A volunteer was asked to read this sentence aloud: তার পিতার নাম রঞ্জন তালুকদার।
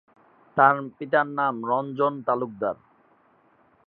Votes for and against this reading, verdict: 4, 2, accepted